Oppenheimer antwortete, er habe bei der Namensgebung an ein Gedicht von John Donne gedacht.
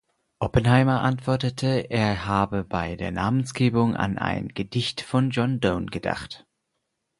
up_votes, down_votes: 4, 0